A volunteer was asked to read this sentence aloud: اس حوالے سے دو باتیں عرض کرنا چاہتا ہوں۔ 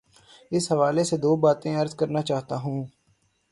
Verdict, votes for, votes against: accepted, 9, 0